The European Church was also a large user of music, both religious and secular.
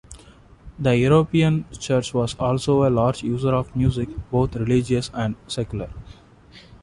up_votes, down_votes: 2, 0